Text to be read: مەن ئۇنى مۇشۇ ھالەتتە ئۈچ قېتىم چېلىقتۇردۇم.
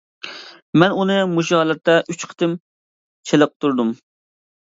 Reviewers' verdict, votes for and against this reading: accepted, 2, 0